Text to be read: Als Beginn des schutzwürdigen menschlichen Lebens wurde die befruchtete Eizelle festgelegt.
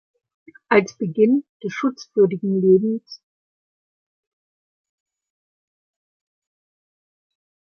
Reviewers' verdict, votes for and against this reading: rejected, 0, 2